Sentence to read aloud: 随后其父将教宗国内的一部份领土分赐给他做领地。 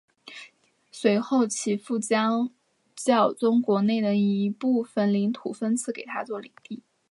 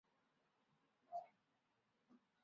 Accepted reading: first